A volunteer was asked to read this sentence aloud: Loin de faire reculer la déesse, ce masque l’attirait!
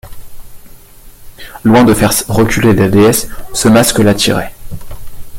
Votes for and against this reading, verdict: 1, 2, rejected